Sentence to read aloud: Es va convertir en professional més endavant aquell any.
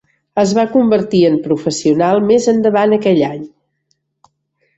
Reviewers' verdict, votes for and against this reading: accepted, 4, 0